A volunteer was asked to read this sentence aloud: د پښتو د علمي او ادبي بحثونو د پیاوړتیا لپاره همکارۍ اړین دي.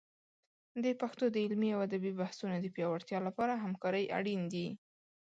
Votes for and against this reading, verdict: 2, 0, accepted